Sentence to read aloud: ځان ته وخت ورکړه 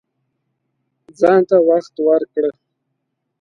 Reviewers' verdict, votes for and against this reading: accepted, 2, 0